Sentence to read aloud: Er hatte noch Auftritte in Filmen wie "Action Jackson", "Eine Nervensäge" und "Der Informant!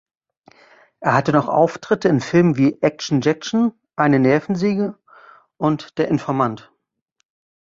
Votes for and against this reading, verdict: 1, 2, rejected